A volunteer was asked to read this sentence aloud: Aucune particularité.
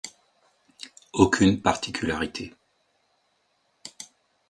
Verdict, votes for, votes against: accepted, 2, 0